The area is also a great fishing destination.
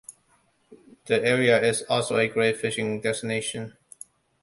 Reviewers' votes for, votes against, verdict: 2, 0, accepted